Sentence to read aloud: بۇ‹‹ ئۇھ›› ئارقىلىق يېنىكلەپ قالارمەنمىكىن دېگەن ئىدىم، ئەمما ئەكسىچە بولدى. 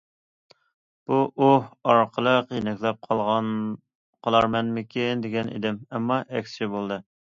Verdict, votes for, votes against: rejected, 0, 2